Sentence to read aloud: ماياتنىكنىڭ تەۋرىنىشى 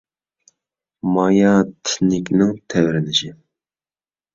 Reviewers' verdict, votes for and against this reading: accepted, 2, 0